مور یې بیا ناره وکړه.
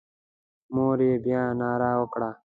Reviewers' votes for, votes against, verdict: 2, 0, accepted